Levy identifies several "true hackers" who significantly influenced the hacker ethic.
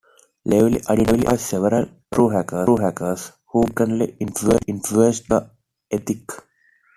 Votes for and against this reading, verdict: 1, 2, rejected